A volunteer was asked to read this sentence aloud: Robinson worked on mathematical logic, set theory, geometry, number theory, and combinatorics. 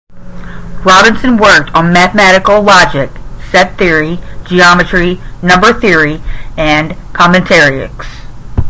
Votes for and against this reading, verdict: 5, 5, rejected